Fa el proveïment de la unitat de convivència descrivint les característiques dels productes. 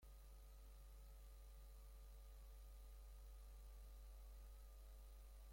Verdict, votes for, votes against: rejected, 0, 2